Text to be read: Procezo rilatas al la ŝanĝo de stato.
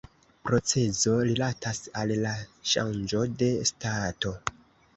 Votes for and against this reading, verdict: 1, 2, rejected